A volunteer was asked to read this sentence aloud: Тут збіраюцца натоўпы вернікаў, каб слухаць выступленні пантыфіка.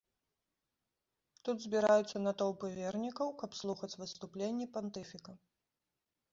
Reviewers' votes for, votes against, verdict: 2, 1, accepted